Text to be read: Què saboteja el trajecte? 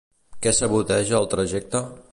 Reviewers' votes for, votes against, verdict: 2, 0, accepted